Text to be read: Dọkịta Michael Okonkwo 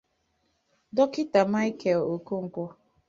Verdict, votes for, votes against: accepted, 2, 1